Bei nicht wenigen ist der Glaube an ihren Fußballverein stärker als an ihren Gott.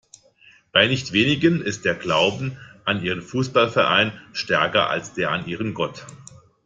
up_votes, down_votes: 0, 2